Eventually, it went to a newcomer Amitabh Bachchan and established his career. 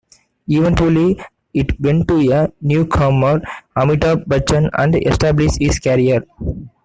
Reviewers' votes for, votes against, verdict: 2, 0, accepted